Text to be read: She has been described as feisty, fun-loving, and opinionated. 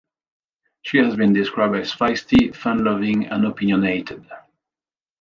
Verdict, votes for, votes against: accepted, 2, 0